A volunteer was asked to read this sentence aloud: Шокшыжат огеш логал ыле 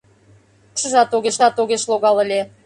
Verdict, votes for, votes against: rejected, 0, 2